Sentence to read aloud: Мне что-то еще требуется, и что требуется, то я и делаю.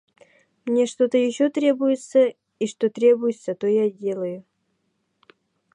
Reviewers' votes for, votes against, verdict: 0, 2, rejected